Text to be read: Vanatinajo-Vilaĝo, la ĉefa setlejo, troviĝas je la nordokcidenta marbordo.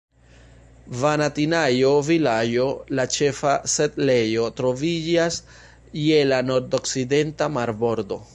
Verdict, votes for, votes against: accepted, 2, 0